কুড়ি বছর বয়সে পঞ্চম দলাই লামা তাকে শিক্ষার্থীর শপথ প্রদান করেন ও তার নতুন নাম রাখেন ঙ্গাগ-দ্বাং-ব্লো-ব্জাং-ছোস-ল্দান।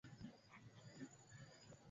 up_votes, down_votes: 0, 3